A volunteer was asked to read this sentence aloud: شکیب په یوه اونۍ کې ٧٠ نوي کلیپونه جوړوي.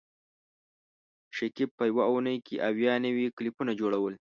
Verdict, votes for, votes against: rejected, 0, 2